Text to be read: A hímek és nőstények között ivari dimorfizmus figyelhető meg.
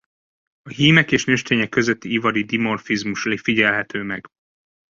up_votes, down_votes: 0, 2